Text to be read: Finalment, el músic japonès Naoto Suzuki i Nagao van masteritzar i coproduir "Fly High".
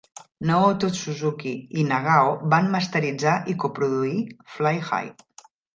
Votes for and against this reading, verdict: 0, 2, rejected